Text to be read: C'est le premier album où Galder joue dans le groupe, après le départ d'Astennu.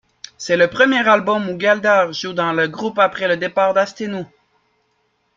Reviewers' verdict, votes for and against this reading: accepted, 3, 0